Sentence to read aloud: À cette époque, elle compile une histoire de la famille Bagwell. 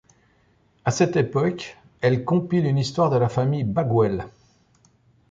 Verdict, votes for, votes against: accepted, 2, 0